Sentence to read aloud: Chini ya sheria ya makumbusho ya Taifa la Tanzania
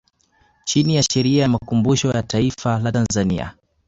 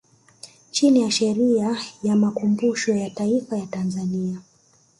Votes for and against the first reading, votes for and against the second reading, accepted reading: 2, 0, 1, 2, first